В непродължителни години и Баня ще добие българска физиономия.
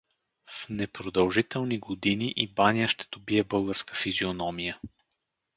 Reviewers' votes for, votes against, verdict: 4, 0, accepted